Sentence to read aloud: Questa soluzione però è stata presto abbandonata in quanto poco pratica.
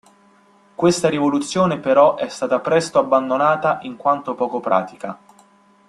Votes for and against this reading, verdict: 0, 2, rejected